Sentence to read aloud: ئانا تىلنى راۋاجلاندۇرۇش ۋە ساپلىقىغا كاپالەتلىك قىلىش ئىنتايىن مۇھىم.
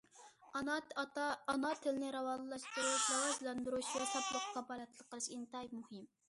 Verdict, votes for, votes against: rejected, 0, 2